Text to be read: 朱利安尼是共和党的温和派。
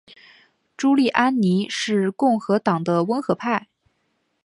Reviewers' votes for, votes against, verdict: 2, 0, accepted